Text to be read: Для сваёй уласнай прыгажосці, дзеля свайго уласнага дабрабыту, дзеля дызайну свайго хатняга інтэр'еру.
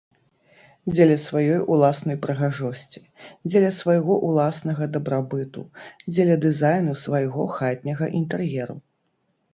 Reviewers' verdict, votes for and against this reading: rejected, 0, 2